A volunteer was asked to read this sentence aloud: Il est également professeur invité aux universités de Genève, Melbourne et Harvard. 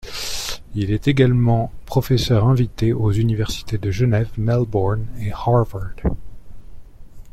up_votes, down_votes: 2, 0